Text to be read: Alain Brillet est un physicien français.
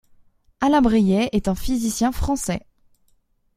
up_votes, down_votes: 2, 0